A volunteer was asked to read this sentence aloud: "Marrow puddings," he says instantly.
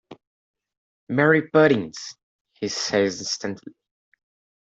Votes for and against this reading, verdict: 1, 2, rejected